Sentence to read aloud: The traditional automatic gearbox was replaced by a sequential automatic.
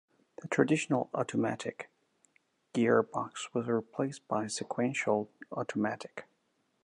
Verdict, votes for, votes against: accepted, 2, 0